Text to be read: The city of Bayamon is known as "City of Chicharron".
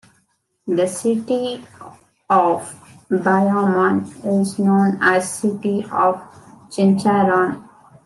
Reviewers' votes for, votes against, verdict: 2, 0, accepted